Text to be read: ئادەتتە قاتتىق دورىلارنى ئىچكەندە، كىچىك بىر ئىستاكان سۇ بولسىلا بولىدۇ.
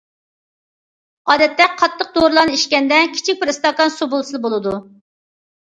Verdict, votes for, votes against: accepted, 2, 0